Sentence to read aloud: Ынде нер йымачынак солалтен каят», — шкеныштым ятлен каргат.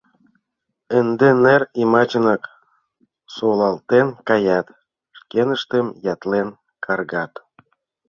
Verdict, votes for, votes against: accepted, 2, 1